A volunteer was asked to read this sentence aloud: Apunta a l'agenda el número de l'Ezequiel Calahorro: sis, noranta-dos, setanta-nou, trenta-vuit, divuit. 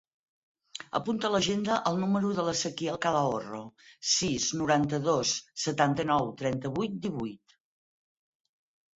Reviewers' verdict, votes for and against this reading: accepted, 4, 0